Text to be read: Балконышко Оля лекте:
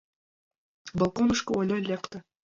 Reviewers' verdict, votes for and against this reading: accepted, 2, 1